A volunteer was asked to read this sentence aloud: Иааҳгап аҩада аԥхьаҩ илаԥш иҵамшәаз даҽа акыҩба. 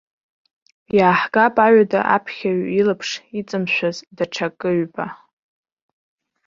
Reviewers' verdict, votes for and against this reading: accepted, 2, 0